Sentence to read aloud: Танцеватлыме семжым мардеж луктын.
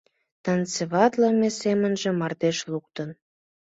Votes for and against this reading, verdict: 2, 1, accepted